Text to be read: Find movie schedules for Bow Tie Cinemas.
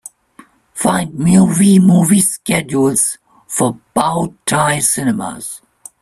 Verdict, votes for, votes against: rejected, 0, 2